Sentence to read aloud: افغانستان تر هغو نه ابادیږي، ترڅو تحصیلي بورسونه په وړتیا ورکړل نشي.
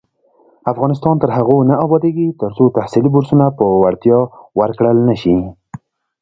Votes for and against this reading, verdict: 2, 1, accepted